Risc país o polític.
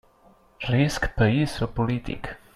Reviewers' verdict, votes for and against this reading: accepted, 3, 0